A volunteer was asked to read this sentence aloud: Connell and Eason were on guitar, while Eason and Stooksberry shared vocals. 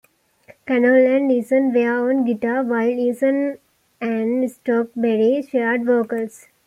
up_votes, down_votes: 2, 1